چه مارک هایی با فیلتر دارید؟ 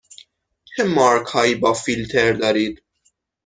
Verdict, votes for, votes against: accepted, 6, 0